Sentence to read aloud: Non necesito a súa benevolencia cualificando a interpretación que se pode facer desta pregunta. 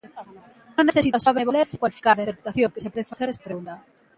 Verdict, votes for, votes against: rejected, 0, 2